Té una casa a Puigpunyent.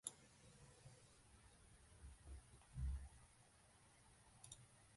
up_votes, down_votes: 0, 2